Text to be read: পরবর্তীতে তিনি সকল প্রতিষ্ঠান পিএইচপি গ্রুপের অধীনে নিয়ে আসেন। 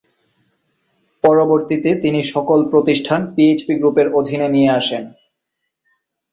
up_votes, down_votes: 4, 0